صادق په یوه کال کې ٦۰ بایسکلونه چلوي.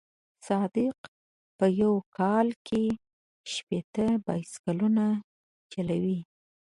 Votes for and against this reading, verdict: 0, 2, rejected